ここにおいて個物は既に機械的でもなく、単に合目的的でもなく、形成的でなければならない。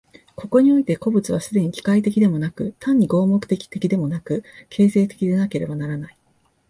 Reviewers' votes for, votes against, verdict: 2, 0, accepted